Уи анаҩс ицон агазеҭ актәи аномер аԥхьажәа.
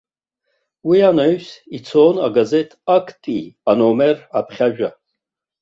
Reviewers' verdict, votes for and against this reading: accepted, 2, 1